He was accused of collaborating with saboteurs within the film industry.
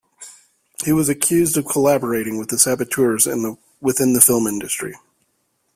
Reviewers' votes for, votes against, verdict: 1, 2, rejected